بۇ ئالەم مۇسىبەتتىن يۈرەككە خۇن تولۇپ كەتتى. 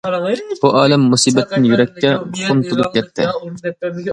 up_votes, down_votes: 1, 2